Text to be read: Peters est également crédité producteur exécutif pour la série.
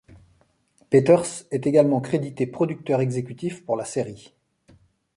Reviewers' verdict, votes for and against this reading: accepted, 2, 0